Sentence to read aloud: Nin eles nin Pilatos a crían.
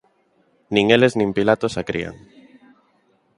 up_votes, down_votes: 2, 0